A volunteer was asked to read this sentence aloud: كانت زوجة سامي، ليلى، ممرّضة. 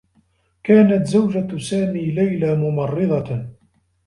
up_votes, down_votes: 2, 0